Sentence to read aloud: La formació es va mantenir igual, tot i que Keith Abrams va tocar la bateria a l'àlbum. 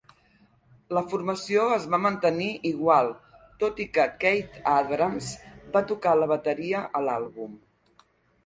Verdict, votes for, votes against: accepted, 2, 1